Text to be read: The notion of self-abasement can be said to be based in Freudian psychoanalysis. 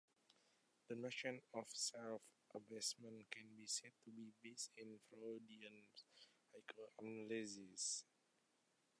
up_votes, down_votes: 0, 2